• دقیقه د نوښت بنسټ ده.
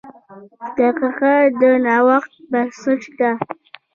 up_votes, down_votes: 1, 2